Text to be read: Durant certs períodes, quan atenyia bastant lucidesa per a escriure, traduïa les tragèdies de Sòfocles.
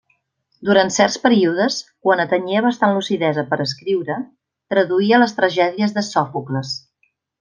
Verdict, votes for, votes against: accepted, 2, 0